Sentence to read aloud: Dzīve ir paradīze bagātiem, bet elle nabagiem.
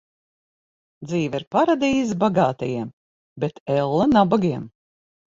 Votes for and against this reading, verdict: 3, 6, rejected